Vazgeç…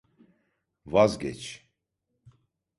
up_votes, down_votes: 2, 0